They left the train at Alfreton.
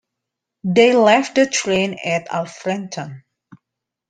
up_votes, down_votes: 2, 0